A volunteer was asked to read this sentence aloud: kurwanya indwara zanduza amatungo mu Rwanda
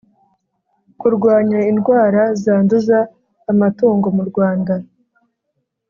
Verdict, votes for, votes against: accepted, 3, 0